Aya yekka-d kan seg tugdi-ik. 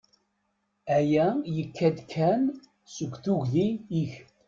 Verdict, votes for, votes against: rejected, 1, 2